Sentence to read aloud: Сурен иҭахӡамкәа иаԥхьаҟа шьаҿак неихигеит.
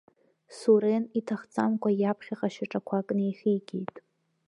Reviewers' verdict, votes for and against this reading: rejected, 0, 2